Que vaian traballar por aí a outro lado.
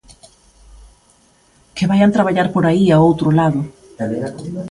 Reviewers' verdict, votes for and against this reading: rejected, 1, 2